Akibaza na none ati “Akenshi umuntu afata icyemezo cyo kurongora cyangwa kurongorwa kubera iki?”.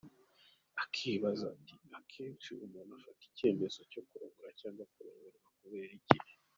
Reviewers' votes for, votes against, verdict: 0, 2, rejected